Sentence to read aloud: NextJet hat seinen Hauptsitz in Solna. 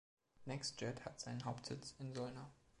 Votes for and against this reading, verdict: 3, 0, accepted